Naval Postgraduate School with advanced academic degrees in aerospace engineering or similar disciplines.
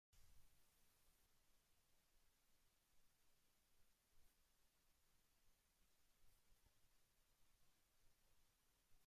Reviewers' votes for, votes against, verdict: 0, 2, rejected